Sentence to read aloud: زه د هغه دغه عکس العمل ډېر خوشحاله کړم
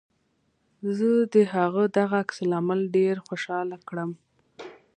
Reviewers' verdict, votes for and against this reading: accepted, 2, 0